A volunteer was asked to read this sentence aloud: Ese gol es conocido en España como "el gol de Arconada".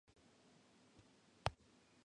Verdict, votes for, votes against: rejected, 0, 2